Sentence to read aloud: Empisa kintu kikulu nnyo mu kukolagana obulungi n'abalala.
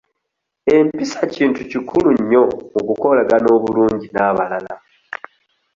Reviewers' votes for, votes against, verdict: 2, 0, accepted